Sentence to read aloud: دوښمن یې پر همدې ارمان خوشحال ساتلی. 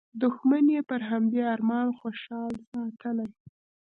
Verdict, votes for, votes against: accepted, 2, 0